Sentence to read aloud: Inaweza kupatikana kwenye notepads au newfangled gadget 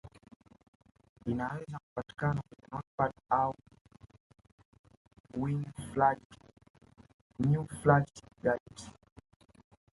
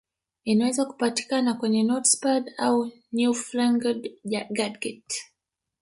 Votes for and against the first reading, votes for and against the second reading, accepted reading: 2, 1, 0, 2, first